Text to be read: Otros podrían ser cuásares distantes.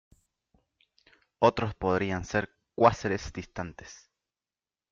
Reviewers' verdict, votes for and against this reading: accepted, 2, 0